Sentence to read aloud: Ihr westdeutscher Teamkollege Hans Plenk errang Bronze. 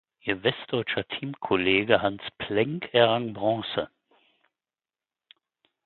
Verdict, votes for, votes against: accepted, 4, 0